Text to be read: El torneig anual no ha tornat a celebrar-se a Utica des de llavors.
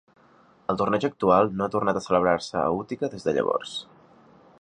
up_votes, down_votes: 0, 2